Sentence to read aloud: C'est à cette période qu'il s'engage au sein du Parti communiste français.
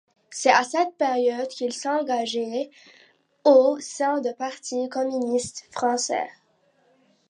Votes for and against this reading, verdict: 0, 2, rejected